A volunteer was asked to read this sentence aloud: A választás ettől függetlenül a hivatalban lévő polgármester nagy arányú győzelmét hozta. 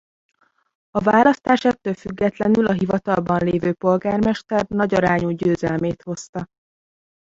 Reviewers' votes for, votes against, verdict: 0, 2, rejected